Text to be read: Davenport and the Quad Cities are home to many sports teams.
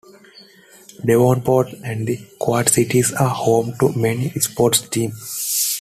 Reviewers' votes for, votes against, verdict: 1, 2, rejected